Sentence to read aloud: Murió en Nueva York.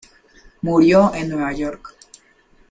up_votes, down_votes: 2, 0